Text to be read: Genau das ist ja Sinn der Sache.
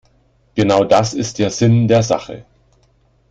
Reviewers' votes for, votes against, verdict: 2, 0, accepted